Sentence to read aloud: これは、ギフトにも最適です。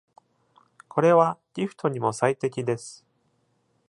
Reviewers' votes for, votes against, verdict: 2, 0, accepted